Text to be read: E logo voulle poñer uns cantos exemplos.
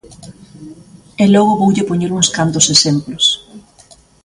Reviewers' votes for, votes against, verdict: 2, 0, accepted